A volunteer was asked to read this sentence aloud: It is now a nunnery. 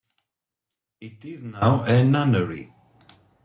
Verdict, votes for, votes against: accepted, 2, 1